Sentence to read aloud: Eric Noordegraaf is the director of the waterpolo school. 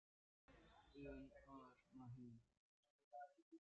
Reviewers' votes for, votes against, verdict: 0, 2, rejected